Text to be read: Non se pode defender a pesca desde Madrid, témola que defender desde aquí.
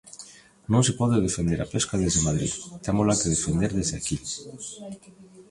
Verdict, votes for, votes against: rejected, 1, 2